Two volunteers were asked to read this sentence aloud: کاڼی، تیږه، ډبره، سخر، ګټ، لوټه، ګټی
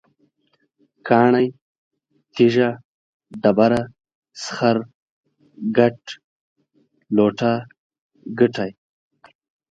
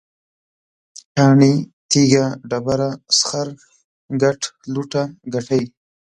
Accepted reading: second